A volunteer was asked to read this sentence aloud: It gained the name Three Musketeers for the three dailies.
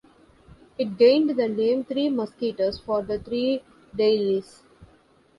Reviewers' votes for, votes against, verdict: 1, 2, rejected